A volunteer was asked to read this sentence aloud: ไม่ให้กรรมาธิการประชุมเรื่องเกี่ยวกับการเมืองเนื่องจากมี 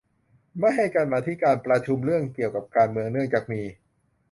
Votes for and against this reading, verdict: 2, 0, accepted